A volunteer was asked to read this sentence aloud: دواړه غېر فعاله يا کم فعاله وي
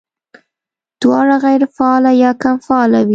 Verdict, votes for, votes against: accepted, 2, 0